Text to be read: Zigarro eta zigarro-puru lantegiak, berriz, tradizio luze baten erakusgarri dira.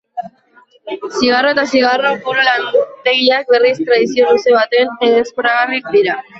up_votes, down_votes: 0, 3